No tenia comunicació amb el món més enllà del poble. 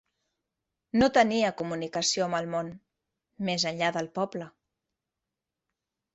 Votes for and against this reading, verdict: 3, 0, accepted